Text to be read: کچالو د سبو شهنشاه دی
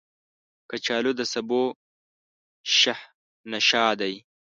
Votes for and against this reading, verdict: 2, 1, accepted